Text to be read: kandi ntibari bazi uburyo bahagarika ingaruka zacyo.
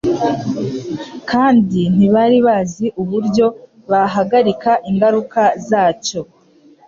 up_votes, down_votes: 3, 0